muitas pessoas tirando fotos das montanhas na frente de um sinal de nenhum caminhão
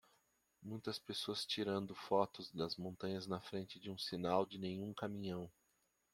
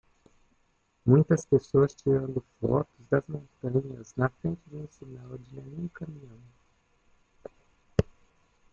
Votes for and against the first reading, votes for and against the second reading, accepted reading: 2, 0, 1, 2, first